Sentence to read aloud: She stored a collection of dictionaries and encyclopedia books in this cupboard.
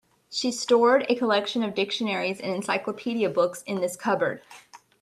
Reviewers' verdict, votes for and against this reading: accepted, 2, 0